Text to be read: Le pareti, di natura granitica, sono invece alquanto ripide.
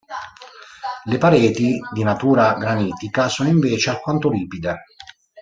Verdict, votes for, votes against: rejected, 1, 2